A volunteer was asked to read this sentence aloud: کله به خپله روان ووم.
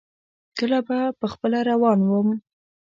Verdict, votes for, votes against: accepted, 2, 0